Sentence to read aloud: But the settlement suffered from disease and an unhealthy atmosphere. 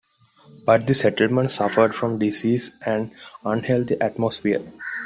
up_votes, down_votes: 0, 2